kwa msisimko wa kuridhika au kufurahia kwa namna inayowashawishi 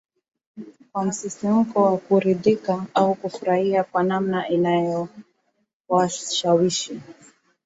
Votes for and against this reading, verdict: 2, 0, accepted